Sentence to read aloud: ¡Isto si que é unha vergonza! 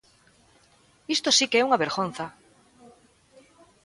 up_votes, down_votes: 2, 0